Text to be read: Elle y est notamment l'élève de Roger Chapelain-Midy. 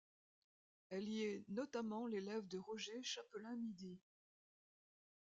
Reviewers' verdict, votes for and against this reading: accepted, 2, 0